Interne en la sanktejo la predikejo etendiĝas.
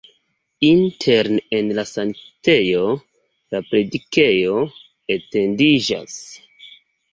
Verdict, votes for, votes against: accepted, 2, 1